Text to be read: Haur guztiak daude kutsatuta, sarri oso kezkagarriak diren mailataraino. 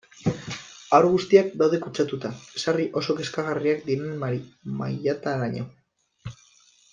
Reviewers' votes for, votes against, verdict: 1, 2, rejected